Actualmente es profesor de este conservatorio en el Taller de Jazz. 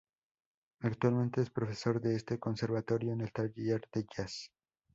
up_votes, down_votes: 2, 0